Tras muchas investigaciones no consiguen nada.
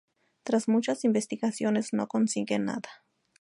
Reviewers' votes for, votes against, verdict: 2, 0, accepted